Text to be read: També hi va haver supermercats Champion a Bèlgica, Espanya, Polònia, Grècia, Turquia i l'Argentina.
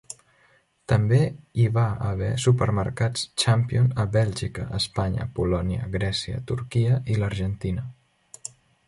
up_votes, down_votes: 0, 2